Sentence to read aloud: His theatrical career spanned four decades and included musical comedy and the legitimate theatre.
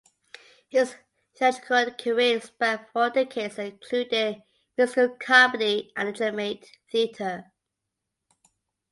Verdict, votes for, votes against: rejected, 0, 2